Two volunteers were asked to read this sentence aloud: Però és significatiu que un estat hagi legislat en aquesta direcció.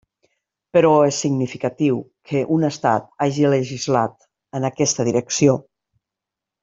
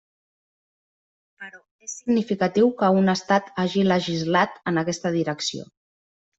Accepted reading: first